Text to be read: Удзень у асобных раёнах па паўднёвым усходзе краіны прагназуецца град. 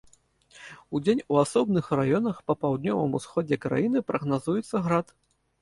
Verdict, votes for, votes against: accepted, 2, 0